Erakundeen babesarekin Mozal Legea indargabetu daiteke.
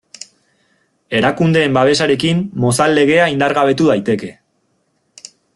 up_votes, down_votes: 2, 0